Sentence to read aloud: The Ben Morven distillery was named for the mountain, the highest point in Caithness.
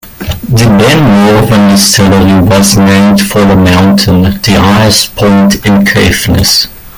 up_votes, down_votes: 0, 2